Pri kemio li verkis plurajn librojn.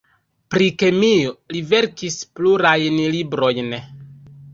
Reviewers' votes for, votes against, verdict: 0, 2, rejected